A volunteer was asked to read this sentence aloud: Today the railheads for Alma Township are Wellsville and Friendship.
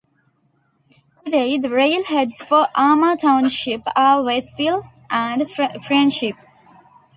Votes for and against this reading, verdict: 0, 2, rejected